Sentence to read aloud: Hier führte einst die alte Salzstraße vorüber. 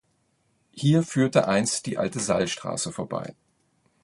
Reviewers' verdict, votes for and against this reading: rejected, 0, 2